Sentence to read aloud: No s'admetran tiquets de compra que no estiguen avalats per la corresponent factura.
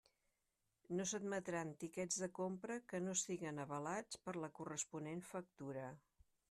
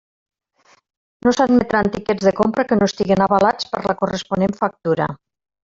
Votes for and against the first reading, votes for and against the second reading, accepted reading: 3, 0, 1, 2, first